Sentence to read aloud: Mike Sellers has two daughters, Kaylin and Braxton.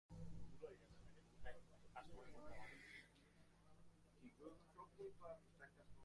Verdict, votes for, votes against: rejected, 0, 2